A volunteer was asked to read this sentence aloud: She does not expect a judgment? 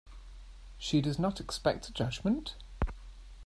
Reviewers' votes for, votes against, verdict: 2, 1, accepted